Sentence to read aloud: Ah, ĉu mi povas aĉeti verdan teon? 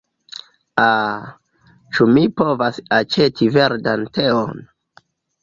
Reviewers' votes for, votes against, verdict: 2, 0, accepted